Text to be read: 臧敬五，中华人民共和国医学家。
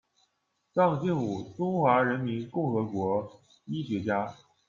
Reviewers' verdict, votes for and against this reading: rejected, 1, 2